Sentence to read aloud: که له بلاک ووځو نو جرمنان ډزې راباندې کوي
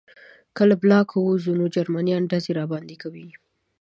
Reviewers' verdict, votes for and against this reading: accepted, 3, 0